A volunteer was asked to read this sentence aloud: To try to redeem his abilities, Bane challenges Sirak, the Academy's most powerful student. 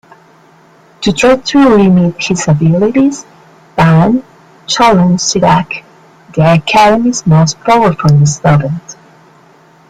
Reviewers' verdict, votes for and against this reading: accepted, 2, 1